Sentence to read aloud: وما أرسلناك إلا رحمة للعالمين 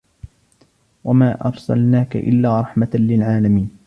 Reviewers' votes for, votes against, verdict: 1, 2, rejected